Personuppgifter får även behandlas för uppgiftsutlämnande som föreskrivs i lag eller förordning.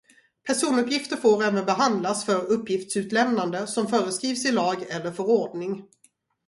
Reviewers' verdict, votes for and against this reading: rejected, 2, 2